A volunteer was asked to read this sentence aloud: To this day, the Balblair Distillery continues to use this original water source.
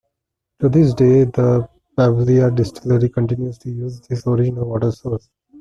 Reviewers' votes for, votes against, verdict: 1, 2, rejected